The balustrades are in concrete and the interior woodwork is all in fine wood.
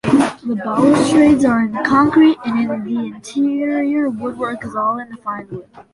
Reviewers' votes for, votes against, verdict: 0, 2, rejected